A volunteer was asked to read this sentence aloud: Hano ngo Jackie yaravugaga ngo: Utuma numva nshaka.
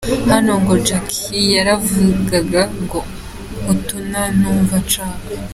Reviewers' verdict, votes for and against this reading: accepted, 2, 0